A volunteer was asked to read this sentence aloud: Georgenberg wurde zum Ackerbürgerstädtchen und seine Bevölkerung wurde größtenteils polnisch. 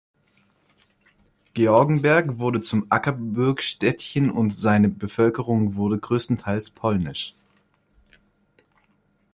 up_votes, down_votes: 0, 2